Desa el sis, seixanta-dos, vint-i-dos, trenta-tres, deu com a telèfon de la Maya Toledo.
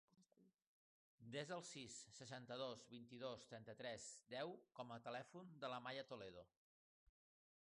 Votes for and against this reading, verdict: 2, 1, accepted